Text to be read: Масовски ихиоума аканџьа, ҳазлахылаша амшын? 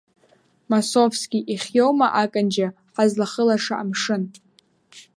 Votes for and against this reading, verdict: 2, 0, accepted